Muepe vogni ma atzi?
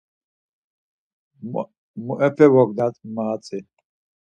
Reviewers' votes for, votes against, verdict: 0, 4, rejected